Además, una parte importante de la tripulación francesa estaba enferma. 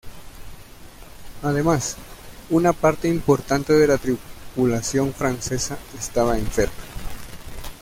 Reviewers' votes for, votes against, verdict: 1, 2, rejected